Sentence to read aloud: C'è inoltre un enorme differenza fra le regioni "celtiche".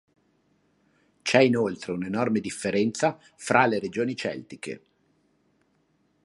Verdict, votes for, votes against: accepted, 2, 0